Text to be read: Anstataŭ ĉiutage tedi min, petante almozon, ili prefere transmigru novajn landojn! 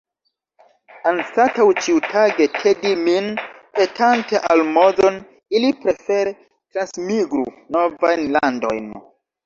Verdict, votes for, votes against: rejected, 1, 2